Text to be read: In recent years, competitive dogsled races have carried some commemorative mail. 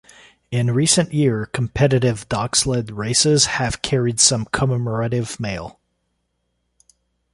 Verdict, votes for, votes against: rejected, 0, 2